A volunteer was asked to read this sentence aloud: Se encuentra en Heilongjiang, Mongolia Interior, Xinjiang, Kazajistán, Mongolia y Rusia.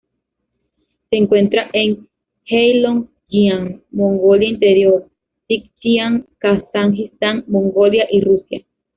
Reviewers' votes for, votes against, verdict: 0, 2, rejected